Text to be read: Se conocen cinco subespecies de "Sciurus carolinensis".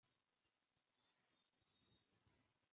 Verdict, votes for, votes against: rejected, 0, 2